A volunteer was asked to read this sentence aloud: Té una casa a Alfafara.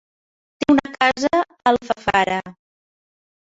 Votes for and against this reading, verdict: 0, 2, rejected